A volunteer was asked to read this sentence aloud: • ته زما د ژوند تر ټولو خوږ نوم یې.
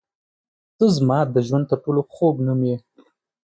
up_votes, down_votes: 2, 1